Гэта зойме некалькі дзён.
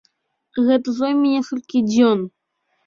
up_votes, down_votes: 1, 2